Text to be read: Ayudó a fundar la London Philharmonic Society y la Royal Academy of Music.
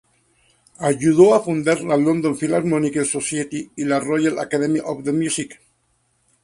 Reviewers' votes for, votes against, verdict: 0, 4, rejected